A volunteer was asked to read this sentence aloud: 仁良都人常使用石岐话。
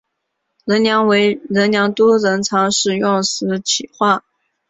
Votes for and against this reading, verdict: 2, 0, accepted